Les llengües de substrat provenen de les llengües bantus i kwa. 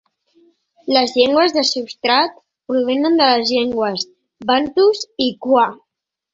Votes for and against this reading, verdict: 3, 0, accepted